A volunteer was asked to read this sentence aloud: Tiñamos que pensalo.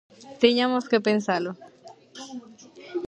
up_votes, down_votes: 0, 2